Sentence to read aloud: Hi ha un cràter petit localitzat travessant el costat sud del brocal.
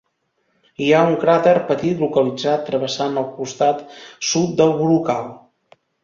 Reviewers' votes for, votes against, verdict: 3, 0, accepted